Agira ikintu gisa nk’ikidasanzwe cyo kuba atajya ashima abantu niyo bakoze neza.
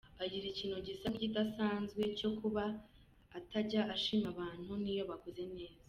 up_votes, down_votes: 2, 0